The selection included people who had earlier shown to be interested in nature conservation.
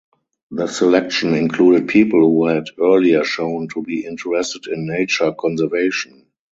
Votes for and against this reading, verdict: 0, 2, rejected